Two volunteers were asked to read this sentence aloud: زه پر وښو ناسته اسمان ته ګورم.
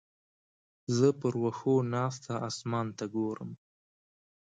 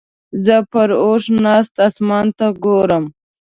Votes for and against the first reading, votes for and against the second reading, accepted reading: 2, 0, 1, 2, first